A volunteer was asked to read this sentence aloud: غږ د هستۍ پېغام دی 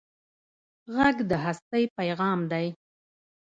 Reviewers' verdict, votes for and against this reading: rejected, 0, 2